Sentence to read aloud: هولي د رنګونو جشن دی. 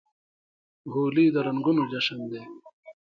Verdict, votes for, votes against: rejected, 0, 2